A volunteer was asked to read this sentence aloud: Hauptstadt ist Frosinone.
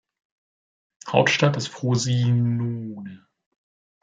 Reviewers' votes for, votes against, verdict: 1, 2, rejected